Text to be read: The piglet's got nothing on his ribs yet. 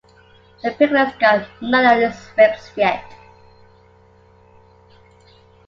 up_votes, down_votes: 1, 2